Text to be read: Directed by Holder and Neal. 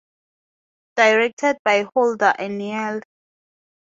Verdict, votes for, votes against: accepted, 2, 0